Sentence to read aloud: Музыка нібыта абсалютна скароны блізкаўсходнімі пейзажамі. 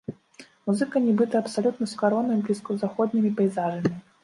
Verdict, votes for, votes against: accepted, 2, 0